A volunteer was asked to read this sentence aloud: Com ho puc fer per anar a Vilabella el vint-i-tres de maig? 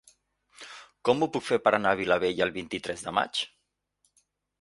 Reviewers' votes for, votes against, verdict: 2, 0, accepted